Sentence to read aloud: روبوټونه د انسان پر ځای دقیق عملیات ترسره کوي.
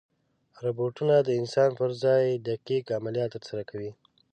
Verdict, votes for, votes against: accepted, 2, 0